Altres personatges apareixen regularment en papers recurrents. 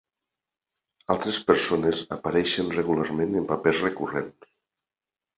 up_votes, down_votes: 0, 2